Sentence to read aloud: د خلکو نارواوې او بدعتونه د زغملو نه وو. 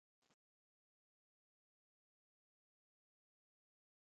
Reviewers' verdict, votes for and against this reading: rejected, 0, 2